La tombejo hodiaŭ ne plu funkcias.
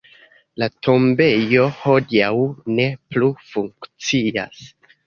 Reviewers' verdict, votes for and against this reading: accepted, 2, 1